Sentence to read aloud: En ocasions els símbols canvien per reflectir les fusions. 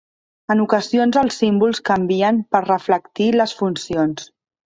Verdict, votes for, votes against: rejected, 1, 2